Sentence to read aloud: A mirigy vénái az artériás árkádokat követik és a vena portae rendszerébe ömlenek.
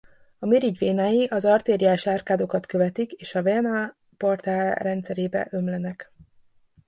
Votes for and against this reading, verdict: 1, 2, rejected